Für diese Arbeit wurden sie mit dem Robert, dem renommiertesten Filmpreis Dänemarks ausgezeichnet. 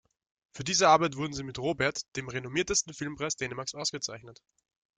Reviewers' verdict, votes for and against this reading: accepted, 2, 1